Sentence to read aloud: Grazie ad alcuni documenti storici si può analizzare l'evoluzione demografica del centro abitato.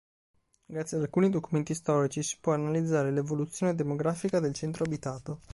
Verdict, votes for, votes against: accepted, 2, 0